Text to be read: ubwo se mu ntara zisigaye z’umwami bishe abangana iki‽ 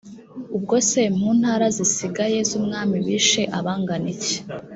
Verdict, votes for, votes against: accepted, 2, 0